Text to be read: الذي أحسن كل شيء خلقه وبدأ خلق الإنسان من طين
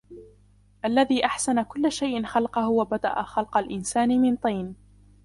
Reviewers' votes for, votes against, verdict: 0, 2, rejected